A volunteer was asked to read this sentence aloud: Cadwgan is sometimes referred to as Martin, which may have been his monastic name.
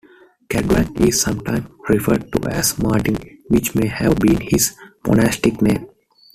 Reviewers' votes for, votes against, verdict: 1, 2, rejected